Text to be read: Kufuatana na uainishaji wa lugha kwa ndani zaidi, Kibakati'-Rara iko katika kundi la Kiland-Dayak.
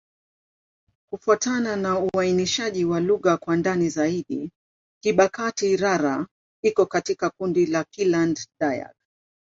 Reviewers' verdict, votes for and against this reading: accepted, 2, 0